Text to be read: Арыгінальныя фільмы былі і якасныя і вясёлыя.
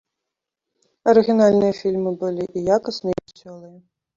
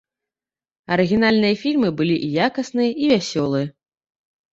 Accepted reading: second